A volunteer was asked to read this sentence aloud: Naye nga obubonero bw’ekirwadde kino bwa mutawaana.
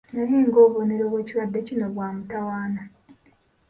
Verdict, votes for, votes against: accepted, 2, 1